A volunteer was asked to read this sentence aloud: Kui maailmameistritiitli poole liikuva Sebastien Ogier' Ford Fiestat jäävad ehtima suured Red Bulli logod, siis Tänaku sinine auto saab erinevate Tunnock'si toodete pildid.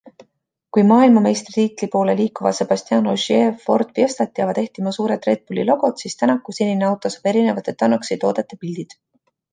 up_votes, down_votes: 2, 0